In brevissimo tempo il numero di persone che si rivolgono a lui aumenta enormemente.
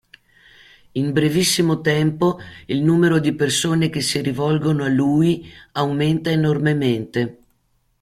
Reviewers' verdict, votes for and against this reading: accepted, 2, 0